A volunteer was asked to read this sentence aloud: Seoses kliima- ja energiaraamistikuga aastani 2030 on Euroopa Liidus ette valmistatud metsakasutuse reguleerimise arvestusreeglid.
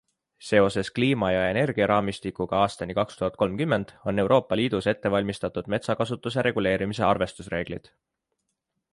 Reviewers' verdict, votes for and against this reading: rejected, 0, 2